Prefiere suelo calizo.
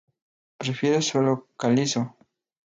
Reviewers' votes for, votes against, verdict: 0, 2, rejected